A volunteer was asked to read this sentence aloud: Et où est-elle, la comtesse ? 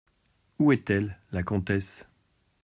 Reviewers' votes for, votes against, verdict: 1, 2, rejected